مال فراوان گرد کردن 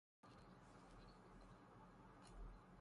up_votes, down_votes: 0, 3